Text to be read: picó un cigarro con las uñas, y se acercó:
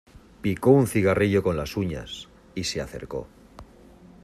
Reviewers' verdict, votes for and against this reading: rejected, 1, 2